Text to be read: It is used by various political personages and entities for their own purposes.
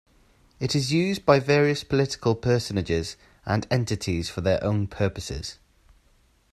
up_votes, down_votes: 2, 0